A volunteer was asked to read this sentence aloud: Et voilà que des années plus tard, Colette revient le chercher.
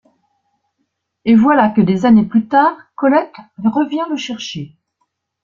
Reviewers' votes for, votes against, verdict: 2, 0, accepted